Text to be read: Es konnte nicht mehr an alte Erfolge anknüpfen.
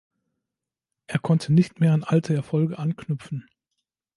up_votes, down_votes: 2, 1